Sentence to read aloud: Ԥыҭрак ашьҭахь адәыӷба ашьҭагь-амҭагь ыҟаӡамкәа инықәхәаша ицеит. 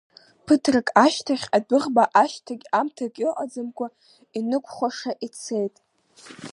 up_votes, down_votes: 2, 0